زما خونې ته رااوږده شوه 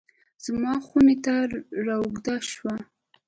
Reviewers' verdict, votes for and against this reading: accepted, 2, 0